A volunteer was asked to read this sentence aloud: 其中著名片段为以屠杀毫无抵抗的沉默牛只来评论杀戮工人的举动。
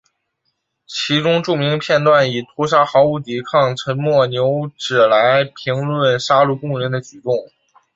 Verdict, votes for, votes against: rejected, 1, 2